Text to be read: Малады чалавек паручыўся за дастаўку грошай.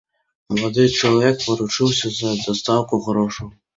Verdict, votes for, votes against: accepted, 2, 0